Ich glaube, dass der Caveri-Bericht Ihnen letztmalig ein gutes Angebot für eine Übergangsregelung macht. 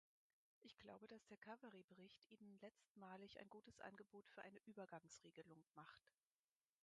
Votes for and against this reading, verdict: 0, 4, rejected